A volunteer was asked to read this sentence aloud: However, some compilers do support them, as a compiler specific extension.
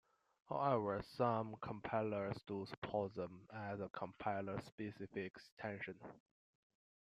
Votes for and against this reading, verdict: 2, 0, accepted